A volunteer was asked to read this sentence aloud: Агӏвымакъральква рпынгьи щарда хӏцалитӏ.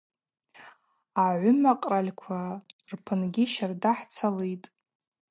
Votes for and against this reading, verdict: 2, 0, accepted